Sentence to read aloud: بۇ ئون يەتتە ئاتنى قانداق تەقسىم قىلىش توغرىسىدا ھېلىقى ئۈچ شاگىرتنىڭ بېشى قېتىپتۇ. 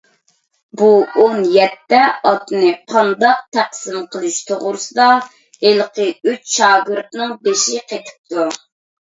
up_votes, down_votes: 2, 0